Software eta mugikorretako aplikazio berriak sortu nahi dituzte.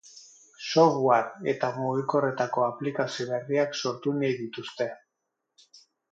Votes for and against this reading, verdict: 6, 0, accepted